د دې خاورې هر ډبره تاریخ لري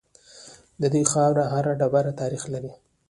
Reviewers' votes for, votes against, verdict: 0, 2, rejected